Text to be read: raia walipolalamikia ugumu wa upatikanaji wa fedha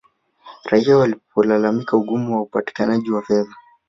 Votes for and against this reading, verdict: 1, 3, rejected